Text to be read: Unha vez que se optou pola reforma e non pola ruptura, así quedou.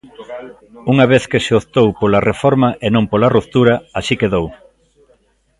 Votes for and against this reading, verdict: 0, 2, rejected